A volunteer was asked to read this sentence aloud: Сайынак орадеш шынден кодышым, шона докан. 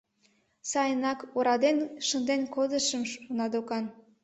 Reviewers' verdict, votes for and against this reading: rejected, 0, 2